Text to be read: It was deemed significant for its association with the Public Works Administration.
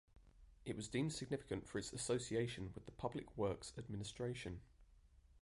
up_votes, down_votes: 1, 2